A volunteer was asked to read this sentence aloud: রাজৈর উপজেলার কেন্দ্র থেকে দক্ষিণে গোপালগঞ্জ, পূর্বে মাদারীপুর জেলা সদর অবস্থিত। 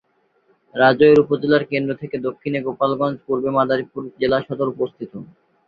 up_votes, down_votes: 4, 0